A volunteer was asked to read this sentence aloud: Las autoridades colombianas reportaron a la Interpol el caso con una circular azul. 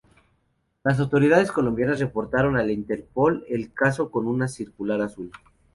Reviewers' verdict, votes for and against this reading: accepted, 2, 0